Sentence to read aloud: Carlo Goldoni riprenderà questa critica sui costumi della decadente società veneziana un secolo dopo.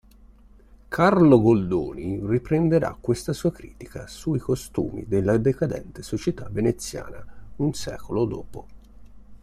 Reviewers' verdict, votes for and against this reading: rejected, 0, 2